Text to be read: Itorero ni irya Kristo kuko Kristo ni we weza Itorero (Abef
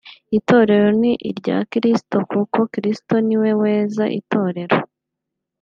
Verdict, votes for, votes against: rejected, 1, 2